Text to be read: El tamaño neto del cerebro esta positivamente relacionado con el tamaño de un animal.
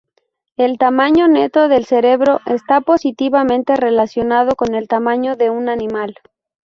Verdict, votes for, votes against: accepted, 2, 0